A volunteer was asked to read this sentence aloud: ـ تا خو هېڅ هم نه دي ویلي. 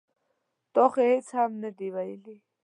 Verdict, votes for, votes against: accepted, 2, 0